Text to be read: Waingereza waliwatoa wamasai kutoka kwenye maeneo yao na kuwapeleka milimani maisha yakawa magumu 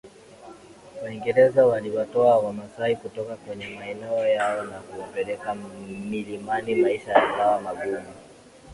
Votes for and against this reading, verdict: 4, 2, accepted